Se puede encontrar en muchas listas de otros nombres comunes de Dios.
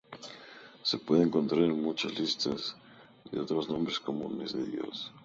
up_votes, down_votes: 2, 0